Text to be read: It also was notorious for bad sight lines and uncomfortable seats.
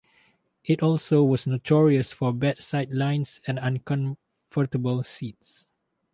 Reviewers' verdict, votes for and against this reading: rejected, 2, 4